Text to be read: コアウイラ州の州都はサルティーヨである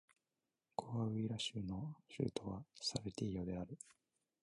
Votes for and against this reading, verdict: 1, 2, rejected